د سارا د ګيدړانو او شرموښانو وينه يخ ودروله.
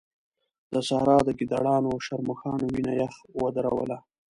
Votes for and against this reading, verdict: 2, 0, accepted